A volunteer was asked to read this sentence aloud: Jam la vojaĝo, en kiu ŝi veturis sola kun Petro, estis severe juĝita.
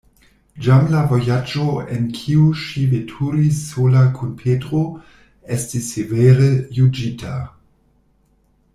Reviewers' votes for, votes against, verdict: 1, 2, rejected